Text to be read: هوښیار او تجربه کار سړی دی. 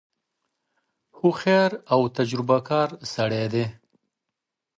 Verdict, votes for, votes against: accepted, 2, 0